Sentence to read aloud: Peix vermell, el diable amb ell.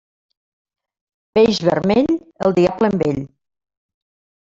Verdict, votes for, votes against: rejected, 0, 2